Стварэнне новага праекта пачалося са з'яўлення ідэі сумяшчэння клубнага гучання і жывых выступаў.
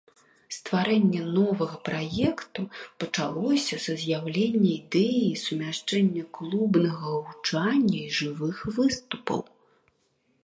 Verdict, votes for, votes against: rejected, 0, 2